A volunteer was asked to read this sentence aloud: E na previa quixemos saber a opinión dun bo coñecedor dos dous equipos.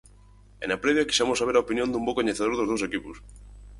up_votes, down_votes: 6, 0